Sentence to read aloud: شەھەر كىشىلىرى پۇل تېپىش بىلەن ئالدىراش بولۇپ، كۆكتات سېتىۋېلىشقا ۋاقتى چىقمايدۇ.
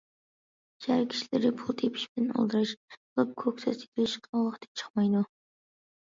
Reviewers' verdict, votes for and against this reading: rejected, 0, 2